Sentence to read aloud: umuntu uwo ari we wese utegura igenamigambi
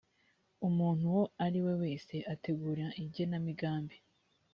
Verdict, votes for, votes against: accepted, 4, 1